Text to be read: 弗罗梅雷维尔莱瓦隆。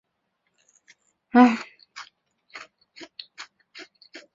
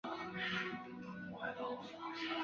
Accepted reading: second